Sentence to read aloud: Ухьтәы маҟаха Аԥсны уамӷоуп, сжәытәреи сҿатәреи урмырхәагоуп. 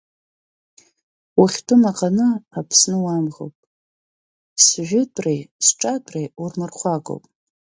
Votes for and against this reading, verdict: 1, 2, rejected